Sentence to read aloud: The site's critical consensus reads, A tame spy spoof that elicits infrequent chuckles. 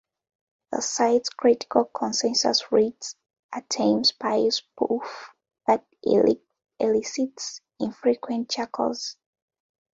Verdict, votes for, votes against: rejected, 1, 2